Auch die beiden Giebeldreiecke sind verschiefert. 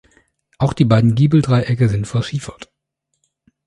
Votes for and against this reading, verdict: 3, 0, accepted